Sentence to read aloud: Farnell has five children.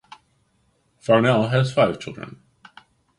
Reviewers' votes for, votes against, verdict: 2, 0, accepted